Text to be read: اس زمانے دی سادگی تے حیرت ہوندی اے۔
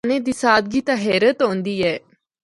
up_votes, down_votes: 0, 2